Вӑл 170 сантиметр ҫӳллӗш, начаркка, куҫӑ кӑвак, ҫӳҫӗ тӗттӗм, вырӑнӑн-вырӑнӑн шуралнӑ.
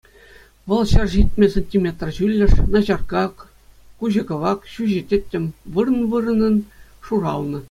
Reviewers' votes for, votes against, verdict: 0, 2, rejected